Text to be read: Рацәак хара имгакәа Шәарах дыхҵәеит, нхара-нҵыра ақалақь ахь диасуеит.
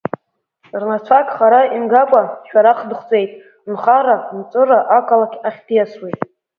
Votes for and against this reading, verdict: 1, 3, rejected